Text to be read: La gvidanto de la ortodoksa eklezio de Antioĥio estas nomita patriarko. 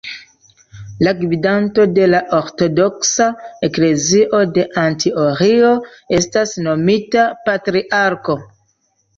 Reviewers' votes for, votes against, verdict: 0, 2, rejected